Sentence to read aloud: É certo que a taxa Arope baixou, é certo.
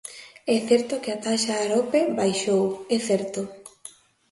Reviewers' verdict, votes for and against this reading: accepted, 2, 0